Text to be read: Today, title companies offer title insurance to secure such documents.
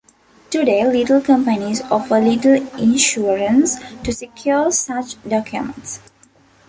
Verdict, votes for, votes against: rejected, 0, 2